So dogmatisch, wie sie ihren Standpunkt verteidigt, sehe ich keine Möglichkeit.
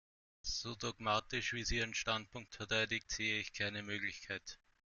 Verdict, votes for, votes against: accepted, 2, 0